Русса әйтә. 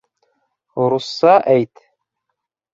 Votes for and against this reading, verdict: 0, 3, rejected